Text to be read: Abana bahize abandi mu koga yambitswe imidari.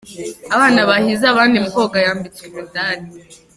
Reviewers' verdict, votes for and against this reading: accepted, 2, 1